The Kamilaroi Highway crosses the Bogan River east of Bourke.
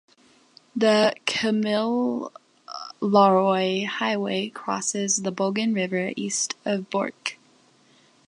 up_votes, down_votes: 0, 2